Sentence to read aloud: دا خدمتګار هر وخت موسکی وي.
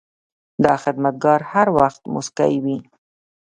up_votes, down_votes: 1, 2